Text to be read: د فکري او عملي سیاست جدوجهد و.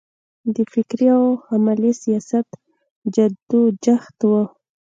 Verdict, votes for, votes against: accepted, 2, 0